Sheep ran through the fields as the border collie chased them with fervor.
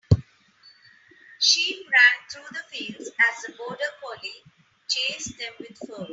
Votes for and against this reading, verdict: 0, 3, rejected